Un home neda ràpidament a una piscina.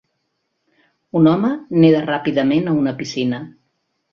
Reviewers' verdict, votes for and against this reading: accepted, 2, 0